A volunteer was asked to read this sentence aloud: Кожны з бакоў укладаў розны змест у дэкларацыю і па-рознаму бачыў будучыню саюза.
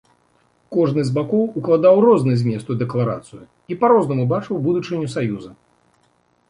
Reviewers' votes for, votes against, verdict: 2, 0, accepted